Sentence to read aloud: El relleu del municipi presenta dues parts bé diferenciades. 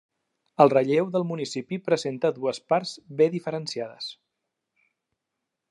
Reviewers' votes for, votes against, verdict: 3, 0, accepted